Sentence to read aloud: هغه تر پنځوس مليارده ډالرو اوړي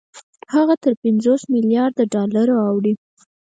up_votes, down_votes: 4, 0